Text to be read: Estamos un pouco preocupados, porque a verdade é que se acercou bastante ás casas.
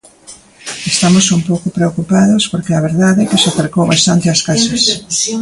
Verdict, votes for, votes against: rejected, 1, 2